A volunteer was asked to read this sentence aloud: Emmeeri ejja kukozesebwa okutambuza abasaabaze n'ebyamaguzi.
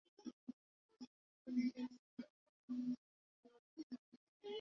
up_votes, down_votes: 0, 2